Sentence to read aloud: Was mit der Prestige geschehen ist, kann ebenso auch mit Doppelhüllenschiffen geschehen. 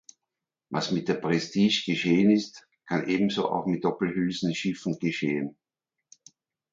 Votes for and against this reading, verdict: 0, 2, rejected